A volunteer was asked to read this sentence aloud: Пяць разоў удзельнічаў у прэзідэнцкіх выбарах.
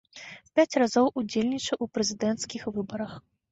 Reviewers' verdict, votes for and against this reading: accepted, 2, 0